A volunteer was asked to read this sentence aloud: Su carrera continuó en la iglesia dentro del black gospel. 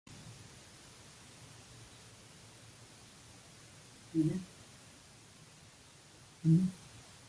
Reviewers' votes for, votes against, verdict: 0, 2, rejected